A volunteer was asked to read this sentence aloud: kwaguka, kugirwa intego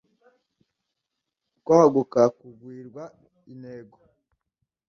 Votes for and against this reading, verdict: 1, 2, rejected